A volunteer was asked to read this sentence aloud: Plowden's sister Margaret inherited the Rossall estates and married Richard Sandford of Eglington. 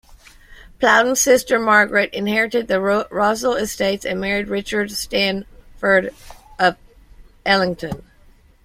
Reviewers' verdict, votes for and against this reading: rejected, 1, 2